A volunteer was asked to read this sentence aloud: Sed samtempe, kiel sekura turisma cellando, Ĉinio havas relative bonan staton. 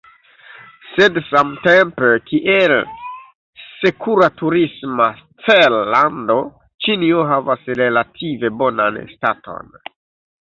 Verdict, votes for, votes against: rejected, 1, 2